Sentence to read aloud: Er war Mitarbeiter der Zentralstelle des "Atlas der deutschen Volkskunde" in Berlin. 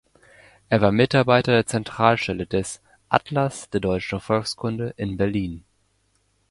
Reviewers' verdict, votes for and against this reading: accepted, 2, 0